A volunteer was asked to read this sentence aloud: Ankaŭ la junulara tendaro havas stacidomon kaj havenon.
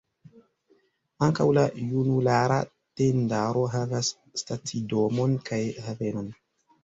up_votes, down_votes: 1, 2